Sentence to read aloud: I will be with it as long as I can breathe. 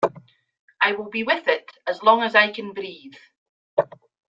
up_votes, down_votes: 2, 0